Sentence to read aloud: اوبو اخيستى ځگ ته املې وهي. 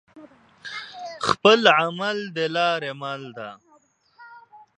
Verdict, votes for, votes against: rejected, 1, 2